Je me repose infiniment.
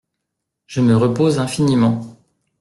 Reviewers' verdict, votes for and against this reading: accepted, 2, 0